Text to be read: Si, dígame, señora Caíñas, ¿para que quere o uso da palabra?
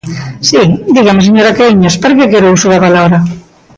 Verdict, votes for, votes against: rejected, 1, 6